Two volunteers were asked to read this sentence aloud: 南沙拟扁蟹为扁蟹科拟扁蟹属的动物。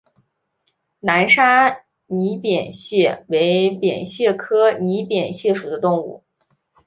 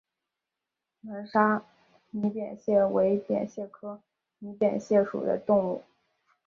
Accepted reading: first